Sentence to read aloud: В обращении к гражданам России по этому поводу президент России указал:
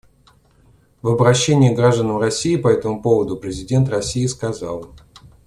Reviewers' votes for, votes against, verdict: 0, 2, rejected